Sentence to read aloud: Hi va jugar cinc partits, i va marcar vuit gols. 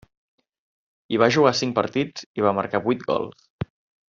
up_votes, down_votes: 3, 0